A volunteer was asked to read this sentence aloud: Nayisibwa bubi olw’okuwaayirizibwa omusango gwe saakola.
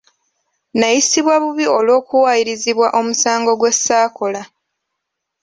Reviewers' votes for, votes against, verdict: 2, 0, accepted